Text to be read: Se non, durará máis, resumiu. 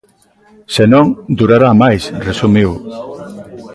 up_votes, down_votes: 2, 0